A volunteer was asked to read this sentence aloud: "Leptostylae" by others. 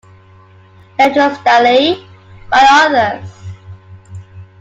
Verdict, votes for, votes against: accepted, 2, 1